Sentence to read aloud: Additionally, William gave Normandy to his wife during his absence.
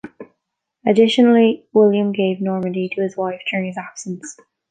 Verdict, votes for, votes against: accepted, 2, 0